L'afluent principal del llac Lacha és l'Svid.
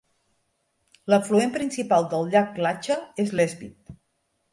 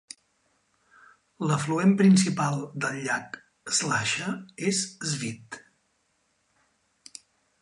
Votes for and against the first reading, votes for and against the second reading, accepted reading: 3, 0, 2, 3, first